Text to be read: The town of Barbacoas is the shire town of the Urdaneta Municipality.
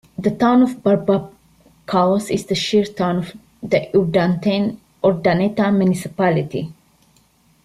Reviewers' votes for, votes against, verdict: 1, 2, rejected